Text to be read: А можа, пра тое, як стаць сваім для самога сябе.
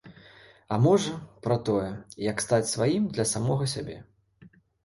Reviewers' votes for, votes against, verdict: 2, 0, accepted